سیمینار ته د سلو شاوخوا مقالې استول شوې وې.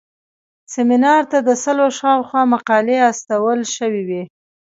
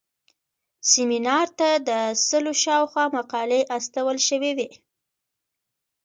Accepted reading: second